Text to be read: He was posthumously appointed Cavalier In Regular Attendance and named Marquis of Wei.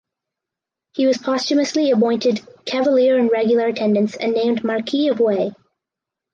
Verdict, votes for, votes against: accepted, 4, 0